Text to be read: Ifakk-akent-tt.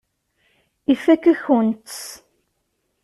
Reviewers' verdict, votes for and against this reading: rejected, 0, 2